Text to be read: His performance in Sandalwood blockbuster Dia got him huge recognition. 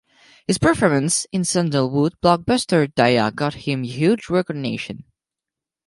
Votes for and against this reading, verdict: 4, 0, accepted